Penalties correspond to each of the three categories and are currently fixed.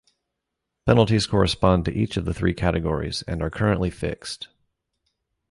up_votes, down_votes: 2, 0